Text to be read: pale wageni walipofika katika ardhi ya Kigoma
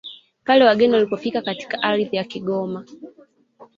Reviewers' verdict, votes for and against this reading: rejected, 0, 2